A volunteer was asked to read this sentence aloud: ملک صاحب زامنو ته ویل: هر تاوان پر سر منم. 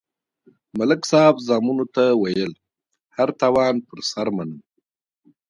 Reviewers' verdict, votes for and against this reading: rejected, 1, 2